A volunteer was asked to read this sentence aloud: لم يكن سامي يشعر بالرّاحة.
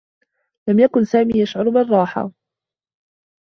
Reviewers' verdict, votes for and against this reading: accepted, 2, 0